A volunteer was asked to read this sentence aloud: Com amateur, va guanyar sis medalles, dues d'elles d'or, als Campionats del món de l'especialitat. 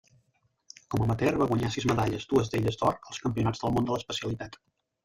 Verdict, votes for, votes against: rejected, 1, 2